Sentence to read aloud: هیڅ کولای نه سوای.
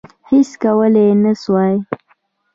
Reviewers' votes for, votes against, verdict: 2, 1, accepted